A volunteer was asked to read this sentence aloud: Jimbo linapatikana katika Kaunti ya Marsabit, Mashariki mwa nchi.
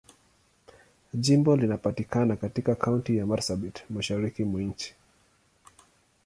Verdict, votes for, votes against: accepted, 2, 0